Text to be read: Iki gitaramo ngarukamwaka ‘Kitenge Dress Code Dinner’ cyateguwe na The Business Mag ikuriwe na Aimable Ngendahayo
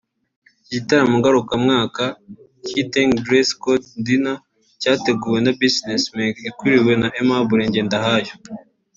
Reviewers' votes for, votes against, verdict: 2, 3, rejected